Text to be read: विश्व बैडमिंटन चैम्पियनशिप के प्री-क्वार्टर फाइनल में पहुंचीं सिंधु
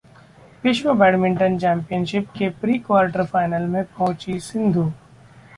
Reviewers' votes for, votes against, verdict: 0, 2, rejected